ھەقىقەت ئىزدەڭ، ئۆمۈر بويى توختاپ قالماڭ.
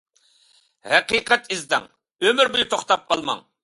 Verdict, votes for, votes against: accepted, 2, 0